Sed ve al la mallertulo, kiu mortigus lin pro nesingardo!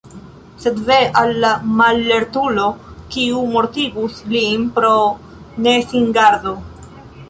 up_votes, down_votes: 1, 2